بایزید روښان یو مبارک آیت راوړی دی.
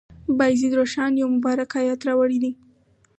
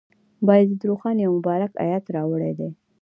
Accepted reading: first